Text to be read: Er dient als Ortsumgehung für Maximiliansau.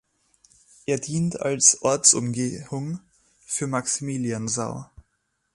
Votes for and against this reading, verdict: 1, 2, rejected